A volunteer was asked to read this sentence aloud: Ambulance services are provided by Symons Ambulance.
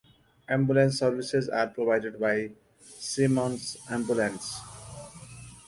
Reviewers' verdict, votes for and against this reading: accepted, 2, 0